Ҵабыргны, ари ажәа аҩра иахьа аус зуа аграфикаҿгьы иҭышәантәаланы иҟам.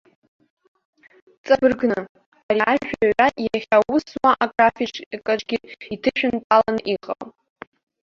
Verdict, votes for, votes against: rejected, 0, 2